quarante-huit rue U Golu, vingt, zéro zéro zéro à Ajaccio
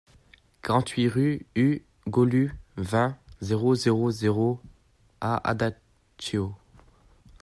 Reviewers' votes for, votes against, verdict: 0, 2, rejected